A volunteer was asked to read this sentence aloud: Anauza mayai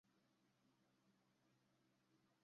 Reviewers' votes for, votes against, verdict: 0, 2, rejected